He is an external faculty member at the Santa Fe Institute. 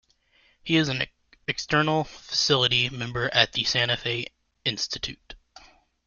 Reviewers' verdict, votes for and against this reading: rejected, 0, 2